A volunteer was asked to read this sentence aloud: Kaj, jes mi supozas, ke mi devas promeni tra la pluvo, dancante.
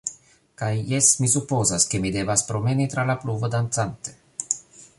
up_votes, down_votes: 2, 0